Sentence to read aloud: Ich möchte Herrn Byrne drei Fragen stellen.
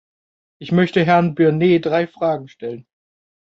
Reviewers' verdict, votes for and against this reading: accepted, 2, 0